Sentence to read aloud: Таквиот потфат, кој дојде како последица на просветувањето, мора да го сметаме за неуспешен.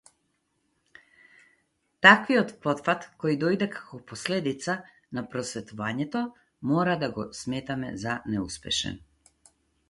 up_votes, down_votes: 2, 2